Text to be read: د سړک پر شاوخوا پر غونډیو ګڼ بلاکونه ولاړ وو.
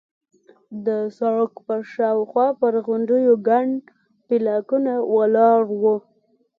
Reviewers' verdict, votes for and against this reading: accepted, 2, 0